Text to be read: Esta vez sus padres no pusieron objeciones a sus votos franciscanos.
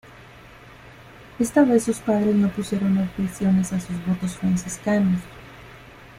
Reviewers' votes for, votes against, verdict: 1, 2, rejected